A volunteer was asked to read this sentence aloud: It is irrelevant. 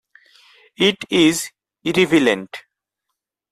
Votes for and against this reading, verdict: 2, 4, rejected